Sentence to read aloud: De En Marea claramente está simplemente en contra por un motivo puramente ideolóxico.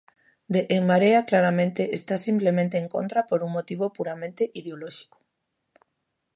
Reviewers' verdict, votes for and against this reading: accepted, 2, 0